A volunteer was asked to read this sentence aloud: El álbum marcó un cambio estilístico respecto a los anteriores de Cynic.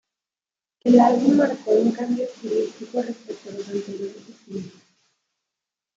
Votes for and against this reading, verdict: 0, 3, rejected